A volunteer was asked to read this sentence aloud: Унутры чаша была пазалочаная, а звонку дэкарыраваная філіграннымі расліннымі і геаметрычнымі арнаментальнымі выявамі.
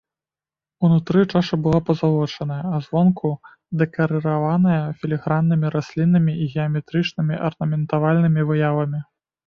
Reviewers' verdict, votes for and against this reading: rejected, 0, 2